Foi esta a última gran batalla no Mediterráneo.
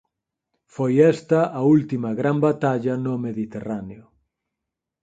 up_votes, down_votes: 4, 0